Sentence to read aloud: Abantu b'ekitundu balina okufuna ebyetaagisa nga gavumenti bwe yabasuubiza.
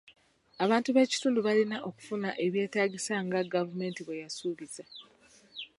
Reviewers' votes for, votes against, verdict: 1, 2, rejected